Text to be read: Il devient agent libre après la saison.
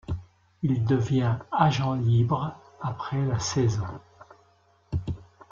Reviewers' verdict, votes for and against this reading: rejected, 1, 2